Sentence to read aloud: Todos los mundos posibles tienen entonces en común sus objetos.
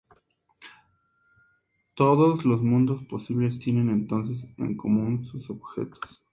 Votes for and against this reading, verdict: 2, 0, accepted